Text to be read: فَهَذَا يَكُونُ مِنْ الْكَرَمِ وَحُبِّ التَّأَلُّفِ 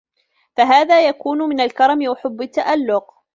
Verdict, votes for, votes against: rejected, 0, 2